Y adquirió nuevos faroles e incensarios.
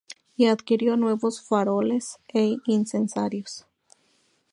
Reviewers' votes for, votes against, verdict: 2, 0, accepted